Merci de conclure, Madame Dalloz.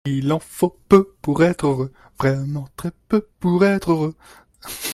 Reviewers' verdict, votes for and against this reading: rejected, 1, 2